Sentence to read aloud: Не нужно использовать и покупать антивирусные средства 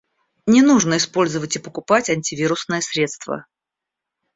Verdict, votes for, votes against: accepted, 2, 0